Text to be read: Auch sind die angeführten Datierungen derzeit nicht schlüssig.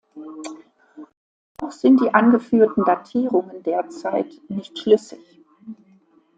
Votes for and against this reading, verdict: 0, 2, rejected